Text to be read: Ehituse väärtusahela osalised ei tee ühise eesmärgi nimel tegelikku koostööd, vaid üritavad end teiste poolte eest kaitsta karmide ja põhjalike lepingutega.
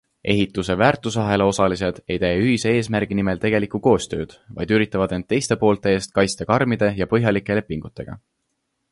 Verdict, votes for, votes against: accepted, 2, 0